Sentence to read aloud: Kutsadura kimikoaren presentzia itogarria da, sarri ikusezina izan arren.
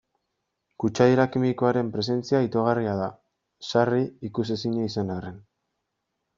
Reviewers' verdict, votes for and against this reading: rejected, 1, 2